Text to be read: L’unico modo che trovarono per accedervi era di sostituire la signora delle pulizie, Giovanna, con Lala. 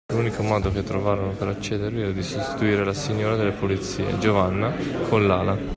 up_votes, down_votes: 2, 0